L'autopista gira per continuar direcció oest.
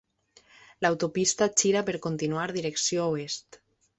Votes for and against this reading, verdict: 2, 0, accepted